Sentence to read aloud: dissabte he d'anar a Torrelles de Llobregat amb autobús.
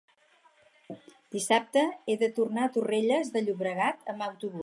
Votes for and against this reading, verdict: 0, 4, rejected